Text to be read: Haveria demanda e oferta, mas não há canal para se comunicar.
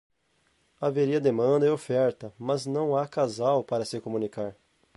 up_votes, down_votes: 2, 4